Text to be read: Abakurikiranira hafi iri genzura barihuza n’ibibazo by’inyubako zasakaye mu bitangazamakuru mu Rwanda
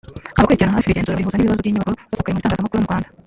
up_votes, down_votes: 1, 2